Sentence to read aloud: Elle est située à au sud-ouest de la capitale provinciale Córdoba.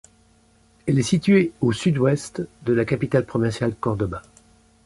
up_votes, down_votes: 0, 2